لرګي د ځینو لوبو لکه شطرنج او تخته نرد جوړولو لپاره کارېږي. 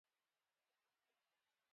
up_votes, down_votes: 2, 1